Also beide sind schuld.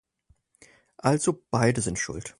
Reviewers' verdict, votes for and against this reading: accepted, 4, 0